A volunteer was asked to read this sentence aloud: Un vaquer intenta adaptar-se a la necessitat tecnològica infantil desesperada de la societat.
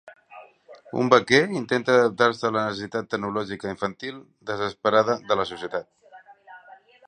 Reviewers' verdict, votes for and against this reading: rejected, 1, 2